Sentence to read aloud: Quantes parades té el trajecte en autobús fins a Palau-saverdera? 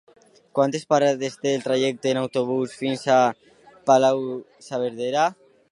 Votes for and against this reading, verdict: 2, 3, rejected